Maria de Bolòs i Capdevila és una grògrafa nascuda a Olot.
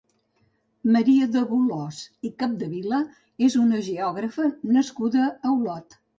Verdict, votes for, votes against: rejected, 0, 2